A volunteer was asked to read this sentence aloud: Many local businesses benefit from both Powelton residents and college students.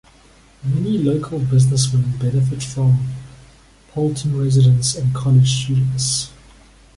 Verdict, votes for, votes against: rejected, 0, 2